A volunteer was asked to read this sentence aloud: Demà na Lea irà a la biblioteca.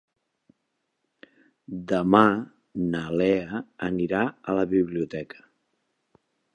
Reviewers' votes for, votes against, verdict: 0, 2, rejected